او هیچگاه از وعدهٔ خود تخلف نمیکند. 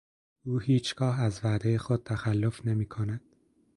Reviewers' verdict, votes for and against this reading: accepted, 2, 0